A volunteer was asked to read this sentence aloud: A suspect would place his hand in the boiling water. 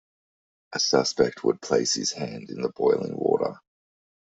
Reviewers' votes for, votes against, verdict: 2, 0, accepted